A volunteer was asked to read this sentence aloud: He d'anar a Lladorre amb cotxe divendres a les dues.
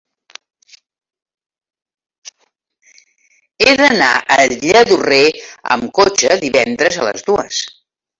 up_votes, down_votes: 1, 3